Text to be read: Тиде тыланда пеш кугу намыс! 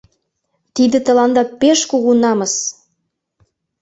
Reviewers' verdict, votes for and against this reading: accepted, 2, 0